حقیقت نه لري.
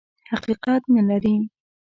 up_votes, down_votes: 2, 0